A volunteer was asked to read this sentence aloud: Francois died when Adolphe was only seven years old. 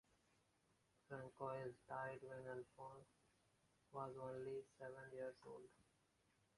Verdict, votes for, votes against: rejected, 0, 2